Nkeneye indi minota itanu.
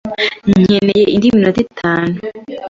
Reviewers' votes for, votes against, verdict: 2, 0, accepted